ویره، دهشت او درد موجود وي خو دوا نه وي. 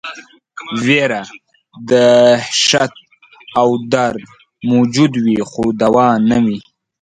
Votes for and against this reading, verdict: 2, 0, accepted